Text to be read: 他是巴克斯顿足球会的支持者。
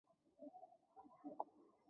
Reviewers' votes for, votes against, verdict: 2, 3, rejected